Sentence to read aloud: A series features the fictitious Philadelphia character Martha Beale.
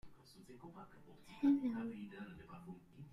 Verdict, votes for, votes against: rejected, 0, 2